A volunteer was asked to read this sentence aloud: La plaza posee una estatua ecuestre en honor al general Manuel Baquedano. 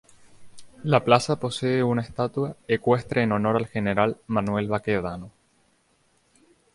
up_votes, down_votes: 0, 2